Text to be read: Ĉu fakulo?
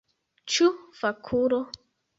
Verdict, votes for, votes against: rejected, 1, 2